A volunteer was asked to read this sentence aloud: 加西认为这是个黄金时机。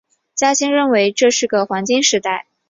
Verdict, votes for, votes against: rejected, 0, 2